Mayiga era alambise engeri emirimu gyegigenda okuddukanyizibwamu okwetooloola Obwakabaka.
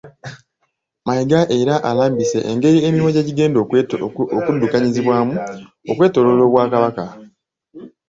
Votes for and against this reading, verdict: 0, 2, rejected